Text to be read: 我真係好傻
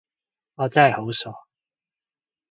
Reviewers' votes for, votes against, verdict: 2, 0, accepted